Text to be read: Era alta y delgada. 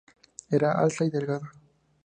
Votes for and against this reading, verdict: 2, 0, accepted